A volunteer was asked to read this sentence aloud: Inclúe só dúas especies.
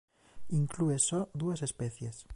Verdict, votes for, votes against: rejected, 0, 2